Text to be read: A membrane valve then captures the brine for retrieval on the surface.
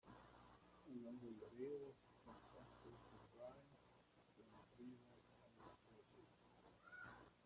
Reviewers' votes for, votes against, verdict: 0, 2, rejected